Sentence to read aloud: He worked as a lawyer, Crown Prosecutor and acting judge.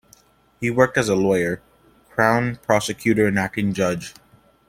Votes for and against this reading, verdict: 2, 0, accepted